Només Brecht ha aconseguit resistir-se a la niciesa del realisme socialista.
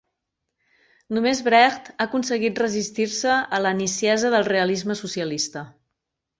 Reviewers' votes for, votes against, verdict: 4, 0, accepted